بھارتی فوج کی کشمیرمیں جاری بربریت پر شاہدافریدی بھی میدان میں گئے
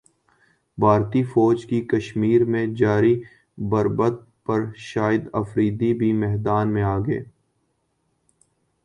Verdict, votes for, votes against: rejected, 1, 3